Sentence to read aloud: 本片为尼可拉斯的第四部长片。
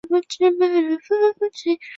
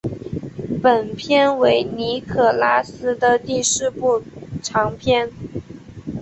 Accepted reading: second